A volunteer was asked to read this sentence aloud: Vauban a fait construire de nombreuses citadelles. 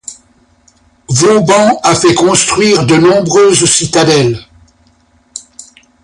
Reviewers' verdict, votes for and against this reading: accepted, 2, 0